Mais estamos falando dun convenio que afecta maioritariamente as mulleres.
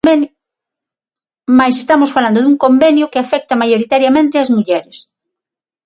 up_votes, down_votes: 0, 6